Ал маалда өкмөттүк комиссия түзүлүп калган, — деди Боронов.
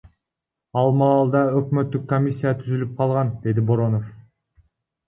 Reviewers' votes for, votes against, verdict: 1, 2, rejected